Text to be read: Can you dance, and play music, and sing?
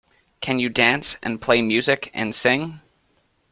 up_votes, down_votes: 2, 0